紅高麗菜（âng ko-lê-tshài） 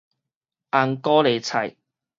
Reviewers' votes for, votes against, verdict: 4, 0, accepted